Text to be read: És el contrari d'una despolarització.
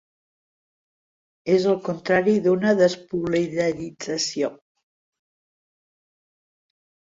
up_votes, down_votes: 0, 2